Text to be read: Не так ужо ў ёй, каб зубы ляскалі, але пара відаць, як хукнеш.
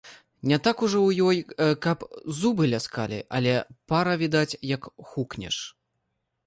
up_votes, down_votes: 0, 2